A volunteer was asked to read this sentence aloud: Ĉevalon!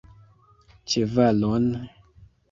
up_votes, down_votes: 2, 0